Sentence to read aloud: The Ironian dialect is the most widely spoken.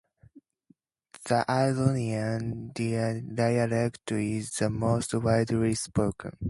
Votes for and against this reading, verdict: 0, 2, rejected